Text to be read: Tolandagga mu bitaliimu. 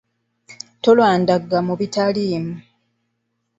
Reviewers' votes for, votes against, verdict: 2, 1, accepted